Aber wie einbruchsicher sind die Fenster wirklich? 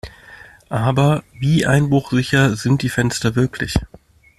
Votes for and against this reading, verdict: 0, 2, rejected